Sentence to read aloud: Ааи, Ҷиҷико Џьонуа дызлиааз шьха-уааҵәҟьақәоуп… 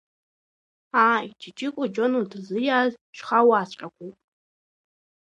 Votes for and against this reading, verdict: 2, 1, accepted